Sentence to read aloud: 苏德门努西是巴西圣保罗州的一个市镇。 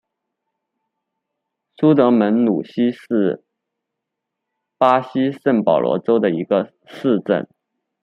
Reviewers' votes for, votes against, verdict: 2, 1, accepted